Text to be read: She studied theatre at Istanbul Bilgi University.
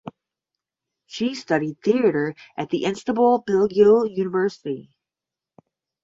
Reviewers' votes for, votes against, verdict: 0, 10, rejected